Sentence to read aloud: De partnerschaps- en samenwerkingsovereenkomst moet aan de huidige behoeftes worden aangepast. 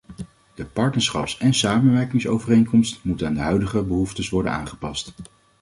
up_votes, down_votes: 2, 0